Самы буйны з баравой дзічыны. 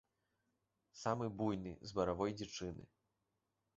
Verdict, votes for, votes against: rejected, 1, 2